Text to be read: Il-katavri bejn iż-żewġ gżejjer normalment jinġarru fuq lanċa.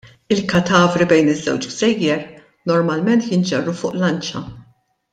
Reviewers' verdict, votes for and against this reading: accepted, 2, 0